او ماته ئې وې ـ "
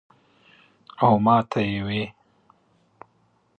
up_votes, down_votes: 3, 0